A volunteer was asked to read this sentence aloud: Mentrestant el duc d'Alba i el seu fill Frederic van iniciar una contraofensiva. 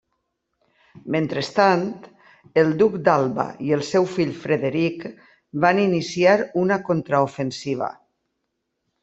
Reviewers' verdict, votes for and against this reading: accepted, 2, 0